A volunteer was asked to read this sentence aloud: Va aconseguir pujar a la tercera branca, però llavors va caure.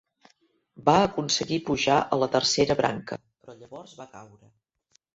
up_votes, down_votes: 0, 2